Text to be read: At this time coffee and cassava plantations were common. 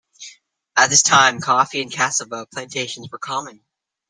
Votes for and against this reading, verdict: 2, 0, accepted